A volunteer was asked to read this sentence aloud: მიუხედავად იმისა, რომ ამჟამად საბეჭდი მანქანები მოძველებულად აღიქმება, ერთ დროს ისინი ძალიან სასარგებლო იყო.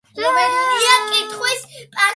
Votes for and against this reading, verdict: 0, 2, rejected